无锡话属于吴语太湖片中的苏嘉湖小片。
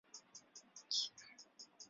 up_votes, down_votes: 0, 4